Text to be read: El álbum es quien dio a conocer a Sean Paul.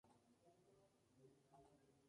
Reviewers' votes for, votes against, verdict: 0, 2, rejected